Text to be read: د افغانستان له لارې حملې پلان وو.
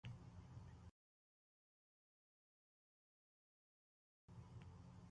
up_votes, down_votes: 1, 2